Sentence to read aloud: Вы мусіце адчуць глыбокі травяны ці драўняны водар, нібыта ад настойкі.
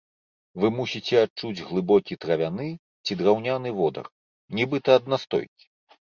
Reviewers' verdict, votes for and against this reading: accepted, 2, 0